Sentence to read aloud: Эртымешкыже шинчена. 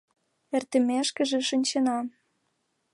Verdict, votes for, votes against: accepted, 2, 0